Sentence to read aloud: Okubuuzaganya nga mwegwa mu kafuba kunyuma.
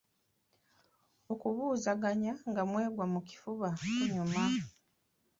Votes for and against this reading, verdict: 2, 1, accepted